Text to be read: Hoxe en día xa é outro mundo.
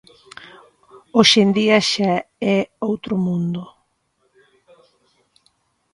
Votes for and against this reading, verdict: 2, 1, accepted